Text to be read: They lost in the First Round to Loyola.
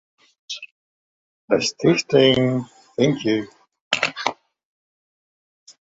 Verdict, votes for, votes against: rejected, 0, 2